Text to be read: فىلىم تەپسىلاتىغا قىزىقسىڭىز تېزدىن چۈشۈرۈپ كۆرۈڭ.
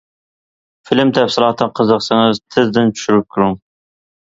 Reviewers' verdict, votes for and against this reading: accepted, 2, 0